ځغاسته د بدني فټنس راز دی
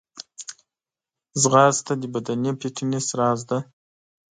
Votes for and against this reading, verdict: 1, 2, rejected